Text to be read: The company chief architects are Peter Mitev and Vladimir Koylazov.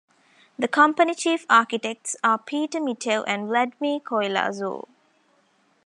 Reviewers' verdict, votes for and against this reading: accepted, 2, 1